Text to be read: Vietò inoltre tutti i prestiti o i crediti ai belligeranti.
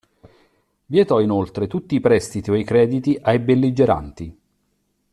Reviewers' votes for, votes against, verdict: 3, 0, accepted